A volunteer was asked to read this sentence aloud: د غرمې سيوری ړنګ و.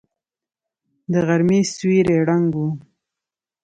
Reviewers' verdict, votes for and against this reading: accepted, 2, 0